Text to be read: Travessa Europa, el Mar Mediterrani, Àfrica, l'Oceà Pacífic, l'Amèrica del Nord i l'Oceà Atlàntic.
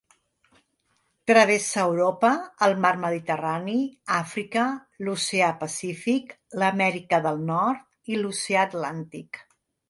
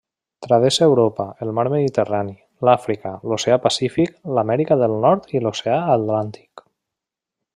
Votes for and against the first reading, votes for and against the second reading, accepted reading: 2, 0, 0, 2, first